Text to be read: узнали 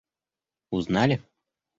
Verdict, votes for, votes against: accepted, 2, 1